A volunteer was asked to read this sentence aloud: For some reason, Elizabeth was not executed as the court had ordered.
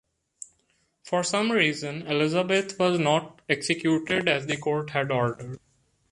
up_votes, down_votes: 2, 0